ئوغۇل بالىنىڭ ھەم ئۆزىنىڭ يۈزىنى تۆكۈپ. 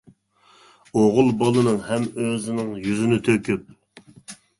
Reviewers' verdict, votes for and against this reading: accepted, 3, 0